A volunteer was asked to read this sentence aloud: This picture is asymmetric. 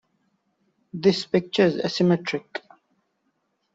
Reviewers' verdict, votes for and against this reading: accepted, 2, 0